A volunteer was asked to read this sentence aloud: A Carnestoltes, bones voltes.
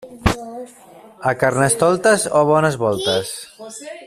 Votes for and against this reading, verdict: 1, 2, rejected